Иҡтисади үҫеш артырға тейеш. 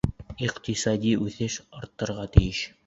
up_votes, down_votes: 2, 0